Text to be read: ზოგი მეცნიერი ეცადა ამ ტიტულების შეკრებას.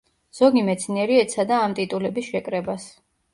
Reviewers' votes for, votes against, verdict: 2, 0, accepted